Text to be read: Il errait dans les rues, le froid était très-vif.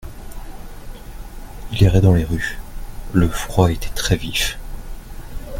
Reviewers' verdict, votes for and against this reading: accepted, 2, 0